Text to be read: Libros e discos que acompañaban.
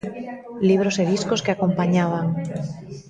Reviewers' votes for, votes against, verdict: 0, 2, rejected